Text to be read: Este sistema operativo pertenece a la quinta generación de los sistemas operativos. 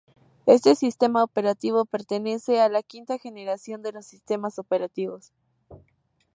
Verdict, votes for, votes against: rejected, 0, 2